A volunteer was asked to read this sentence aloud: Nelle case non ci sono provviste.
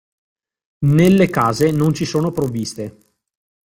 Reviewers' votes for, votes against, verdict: 2, 1, accepted